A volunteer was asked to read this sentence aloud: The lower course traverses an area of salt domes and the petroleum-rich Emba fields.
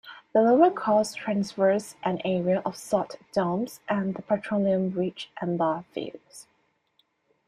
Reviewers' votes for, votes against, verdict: 1, 2, rejected